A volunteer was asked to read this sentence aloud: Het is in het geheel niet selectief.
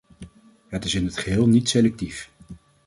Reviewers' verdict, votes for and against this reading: accepted, 2, 0